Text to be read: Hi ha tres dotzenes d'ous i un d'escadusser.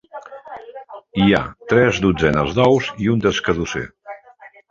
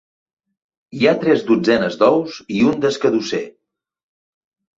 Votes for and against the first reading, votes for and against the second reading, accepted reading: 0, 2, 2, 0, second